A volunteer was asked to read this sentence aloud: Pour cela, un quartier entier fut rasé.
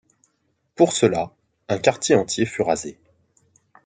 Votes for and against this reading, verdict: 2, 0, accepted